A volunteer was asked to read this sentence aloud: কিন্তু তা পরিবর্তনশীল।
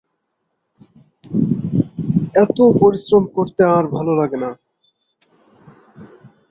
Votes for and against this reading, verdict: 0, 2, rejected